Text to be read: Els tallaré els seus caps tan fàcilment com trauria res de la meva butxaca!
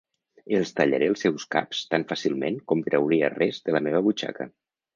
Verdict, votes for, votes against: accepted, 3, 0